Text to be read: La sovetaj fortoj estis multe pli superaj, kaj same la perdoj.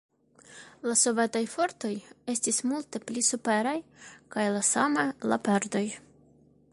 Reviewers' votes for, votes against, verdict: 1, 3, rejected